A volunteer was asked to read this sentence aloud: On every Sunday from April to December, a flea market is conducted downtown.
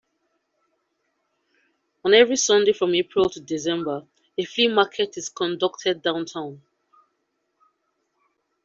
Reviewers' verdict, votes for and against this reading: accepted, 2, 0